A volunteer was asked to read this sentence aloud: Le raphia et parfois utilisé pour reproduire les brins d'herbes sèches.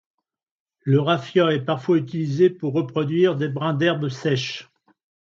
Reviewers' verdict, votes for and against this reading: rejected, 0, 2